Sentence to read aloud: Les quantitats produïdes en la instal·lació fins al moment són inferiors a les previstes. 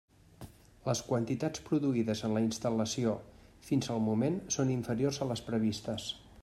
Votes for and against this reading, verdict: 2, 0, accepted